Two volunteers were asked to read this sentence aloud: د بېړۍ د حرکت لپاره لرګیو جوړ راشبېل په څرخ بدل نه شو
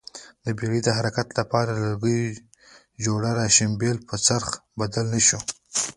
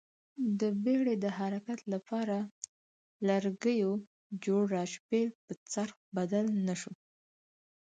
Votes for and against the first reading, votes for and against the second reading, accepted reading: 0, 2, 4, 2, second